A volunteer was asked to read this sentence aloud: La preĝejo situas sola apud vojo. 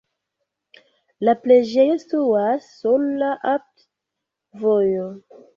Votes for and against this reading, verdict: 0, 2, rejected